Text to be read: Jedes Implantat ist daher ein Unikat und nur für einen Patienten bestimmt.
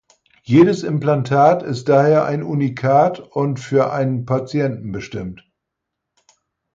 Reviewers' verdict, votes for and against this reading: rejected, 0, 4